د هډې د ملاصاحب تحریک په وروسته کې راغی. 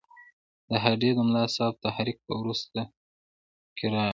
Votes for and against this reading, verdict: 2, 1, accepted